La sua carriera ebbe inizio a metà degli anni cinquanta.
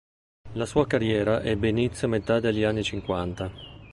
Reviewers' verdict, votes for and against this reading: accepted, 3, 0